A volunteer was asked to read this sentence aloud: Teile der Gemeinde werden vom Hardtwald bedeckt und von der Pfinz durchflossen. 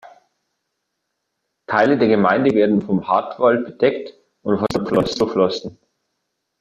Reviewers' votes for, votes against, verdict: 0, 2, rejected